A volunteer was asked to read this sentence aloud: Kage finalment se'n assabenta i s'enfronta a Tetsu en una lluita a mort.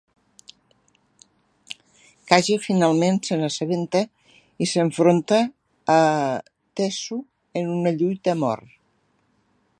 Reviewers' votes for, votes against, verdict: 1, 2, rejected